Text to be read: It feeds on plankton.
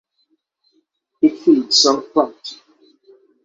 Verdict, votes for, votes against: accepted, 6, 0